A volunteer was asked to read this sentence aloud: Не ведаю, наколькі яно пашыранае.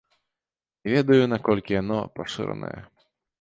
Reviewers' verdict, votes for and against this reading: rejected, 1, 2